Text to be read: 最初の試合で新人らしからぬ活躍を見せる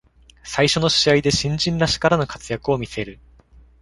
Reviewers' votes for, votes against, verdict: 2, 0, accepted